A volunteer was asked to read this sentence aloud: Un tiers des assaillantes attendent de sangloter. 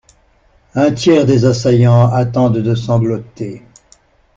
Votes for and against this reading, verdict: 0, 2, rejected